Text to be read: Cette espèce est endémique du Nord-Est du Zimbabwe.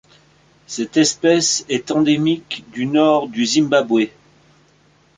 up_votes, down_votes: 0, 2